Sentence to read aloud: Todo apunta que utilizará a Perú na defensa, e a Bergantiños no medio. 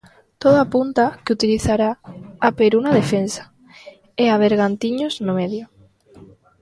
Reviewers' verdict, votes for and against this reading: rejected, 0, 2